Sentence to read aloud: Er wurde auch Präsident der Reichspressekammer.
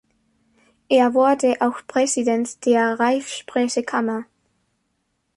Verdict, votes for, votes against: rejected, 0, 2